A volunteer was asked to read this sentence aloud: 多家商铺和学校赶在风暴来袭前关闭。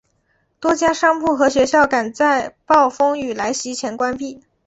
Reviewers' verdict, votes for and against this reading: accepted, 2, 0